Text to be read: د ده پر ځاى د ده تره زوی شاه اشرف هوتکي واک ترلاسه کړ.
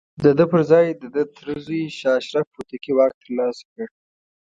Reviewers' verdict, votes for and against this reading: accepted, 2, 0